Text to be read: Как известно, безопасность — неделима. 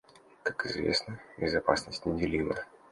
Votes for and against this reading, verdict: 2, 0, accepted